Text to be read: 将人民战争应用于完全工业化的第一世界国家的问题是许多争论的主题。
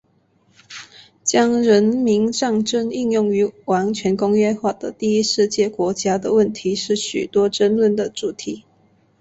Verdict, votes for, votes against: accepted, 3, 0